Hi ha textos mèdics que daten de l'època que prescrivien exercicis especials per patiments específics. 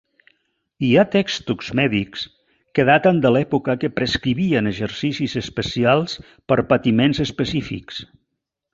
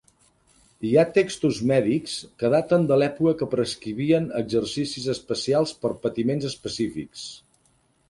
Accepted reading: second